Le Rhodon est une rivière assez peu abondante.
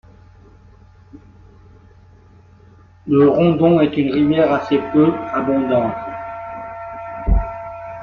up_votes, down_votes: 1, 2